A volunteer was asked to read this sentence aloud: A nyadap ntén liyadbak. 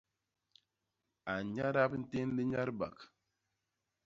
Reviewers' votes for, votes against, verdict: 1, 2, rejected